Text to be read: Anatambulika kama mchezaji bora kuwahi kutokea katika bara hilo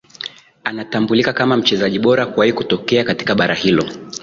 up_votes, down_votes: 4, 1